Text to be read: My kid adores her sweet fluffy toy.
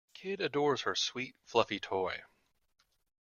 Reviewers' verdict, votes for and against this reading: rejected, 1, 2